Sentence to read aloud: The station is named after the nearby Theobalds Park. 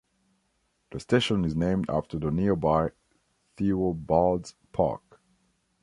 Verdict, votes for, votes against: accepted, 2, 0